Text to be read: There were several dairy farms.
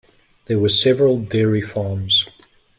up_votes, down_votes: 2, 0